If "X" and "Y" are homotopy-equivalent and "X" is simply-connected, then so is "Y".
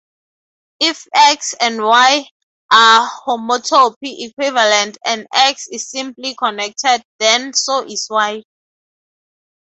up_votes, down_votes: 4, 0